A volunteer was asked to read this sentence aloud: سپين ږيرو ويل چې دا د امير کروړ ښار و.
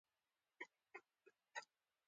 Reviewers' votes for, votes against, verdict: 0, 2, rejected